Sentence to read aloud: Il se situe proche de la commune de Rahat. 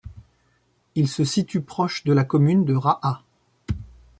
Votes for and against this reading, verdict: 2, 0, accepted